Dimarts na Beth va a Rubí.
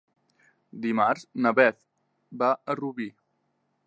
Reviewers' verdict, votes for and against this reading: accepted, 3, 0